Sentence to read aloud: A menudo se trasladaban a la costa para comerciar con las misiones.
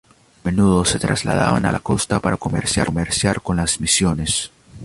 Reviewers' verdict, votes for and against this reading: rejected, 0, 2